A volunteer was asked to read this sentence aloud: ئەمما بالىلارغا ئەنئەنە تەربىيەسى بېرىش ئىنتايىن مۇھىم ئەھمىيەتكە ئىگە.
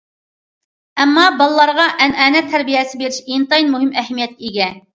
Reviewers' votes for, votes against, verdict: 2, 0, accepted